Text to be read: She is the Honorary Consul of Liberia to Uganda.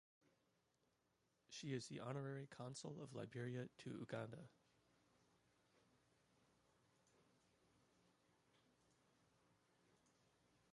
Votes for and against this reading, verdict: 1, 2, rejected